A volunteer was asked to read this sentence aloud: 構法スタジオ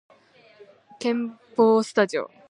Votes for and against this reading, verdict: 1, 2, rejected